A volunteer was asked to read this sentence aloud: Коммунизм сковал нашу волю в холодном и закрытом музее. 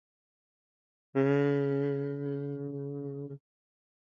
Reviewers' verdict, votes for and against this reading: rejected, 0, 2